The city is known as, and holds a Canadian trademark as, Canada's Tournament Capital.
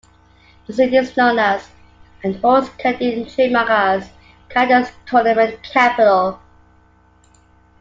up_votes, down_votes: 1, 2